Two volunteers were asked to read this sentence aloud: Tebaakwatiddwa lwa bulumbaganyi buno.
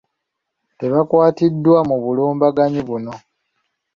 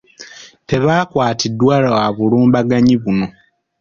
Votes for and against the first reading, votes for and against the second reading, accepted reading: 0, 2, 3, 0, second